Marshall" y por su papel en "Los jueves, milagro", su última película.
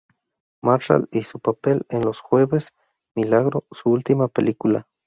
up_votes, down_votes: 0, 2